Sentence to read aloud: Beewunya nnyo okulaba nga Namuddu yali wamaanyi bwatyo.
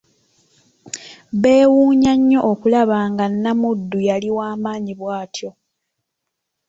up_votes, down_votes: 2, 0